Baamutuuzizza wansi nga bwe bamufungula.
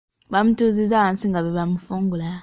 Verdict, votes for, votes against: accepted, 2, 0